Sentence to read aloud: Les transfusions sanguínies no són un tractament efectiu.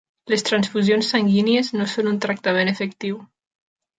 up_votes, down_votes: 3, 0